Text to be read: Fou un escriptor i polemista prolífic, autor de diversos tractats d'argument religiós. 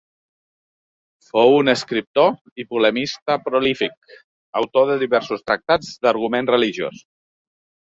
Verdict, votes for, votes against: accepted, 3, 0